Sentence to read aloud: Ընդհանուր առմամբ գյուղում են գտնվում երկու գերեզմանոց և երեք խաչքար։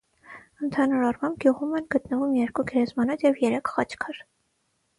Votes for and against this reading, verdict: 6, 0, accepted